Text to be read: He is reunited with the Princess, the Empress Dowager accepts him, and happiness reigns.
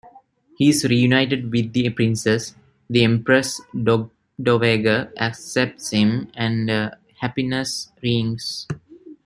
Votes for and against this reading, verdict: 1, 2, rejected